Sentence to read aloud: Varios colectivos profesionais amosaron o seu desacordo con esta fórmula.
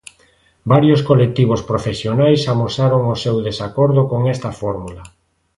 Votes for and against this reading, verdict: 3, 0, accepted